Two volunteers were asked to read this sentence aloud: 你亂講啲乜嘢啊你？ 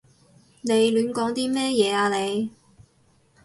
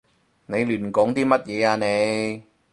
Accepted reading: second